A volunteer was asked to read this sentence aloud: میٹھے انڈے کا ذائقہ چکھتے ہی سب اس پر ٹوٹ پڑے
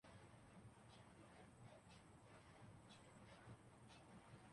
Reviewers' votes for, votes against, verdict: 0, 2, rejected